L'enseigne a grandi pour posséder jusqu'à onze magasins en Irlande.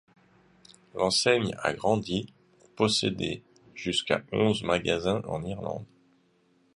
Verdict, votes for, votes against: rejected, 1, 2